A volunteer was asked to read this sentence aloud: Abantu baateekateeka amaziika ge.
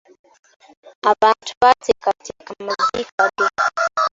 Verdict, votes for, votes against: accepted, 2, 1